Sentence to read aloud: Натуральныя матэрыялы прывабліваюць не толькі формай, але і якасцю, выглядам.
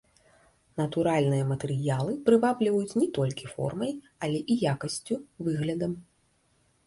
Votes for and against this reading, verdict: 2, 0, accepted